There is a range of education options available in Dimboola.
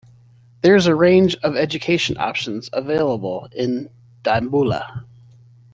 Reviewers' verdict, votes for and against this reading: rejected, 1, 2